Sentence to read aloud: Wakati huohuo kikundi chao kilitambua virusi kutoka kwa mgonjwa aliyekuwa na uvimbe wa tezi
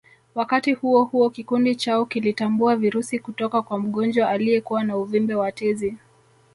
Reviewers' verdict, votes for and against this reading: rejected, 0, 2